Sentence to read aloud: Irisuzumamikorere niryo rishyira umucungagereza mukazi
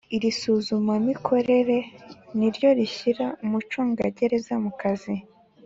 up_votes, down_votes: 4, 0